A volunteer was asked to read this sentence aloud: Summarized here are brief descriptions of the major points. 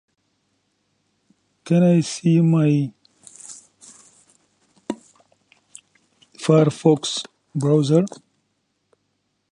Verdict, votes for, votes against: rejected, 0, 2